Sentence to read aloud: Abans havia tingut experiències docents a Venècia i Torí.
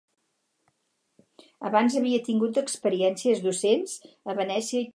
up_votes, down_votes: 2, 4